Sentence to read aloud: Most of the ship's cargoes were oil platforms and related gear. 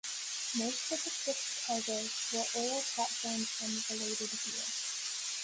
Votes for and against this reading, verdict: 0, 2, rejected